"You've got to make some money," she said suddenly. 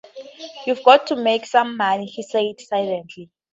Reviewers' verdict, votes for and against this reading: rejected, 0, 4